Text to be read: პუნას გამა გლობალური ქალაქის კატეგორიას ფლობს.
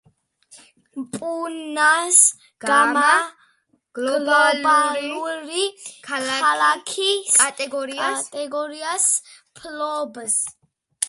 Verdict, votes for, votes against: rejected, 1, 2